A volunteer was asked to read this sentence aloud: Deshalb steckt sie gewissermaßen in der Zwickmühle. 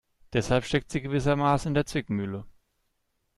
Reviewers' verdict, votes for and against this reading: accepted, 2, 0